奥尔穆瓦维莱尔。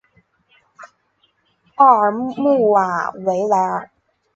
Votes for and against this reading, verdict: 3, 1, accepted